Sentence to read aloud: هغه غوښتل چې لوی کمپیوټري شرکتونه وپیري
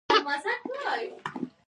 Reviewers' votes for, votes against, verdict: 0, 2, rejected